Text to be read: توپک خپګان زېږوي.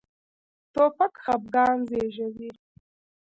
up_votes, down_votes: 1, 2